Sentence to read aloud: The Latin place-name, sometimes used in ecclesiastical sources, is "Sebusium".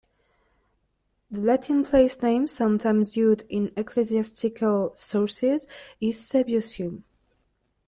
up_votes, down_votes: 2, 1